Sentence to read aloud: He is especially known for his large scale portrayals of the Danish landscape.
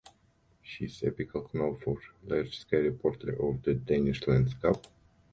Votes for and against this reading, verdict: 0, 2, rejected